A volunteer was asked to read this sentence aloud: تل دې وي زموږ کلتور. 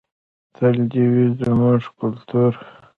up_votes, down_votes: 2, 0